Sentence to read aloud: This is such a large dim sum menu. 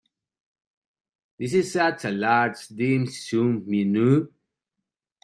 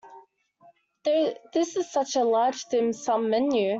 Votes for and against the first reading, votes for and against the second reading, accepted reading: 2, 1, 0, 2, first